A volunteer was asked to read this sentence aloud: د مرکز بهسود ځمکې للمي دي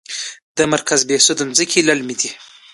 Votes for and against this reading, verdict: 2, 0, accepted